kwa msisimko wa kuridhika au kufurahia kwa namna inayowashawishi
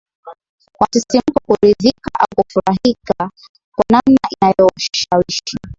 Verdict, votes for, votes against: rejected, 1, 2